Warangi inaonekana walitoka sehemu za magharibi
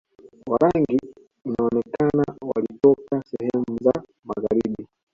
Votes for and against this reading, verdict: 2, 1, accepted